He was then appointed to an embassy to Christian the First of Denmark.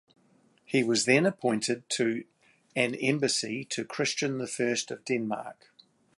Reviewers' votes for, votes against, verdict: 2, 0, accepted